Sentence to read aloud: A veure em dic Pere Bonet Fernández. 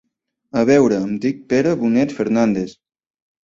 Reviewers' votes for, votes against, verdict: 3, 0, accepted